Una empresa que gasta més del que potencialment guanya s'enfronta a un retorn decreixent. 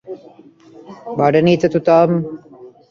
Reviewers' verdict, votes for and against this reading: rejected, 1, 2